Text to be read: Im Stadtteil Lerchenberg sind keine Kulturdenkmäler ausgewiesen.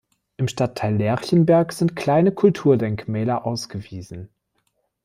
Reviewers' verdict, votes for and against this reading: rejected, 1, 2